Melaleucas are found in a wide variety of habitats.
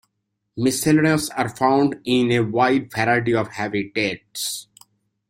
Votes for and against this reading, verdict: 1, 2, rejected